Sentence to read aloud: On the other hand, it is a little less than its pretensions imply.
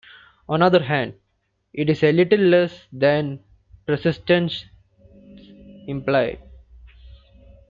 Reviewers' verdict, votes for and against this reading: rejected, 1, 2